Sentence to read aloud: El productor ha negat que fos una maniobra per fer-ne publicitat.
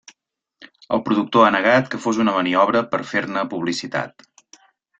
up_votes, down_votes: 3, 0